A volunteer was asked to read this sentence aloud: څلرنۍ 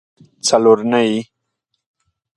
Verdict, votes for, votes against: accepted, 2, 0